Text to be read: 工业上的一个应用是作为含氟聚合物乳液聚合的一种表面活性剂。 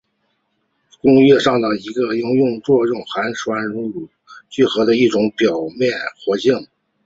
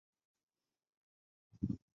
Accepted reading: first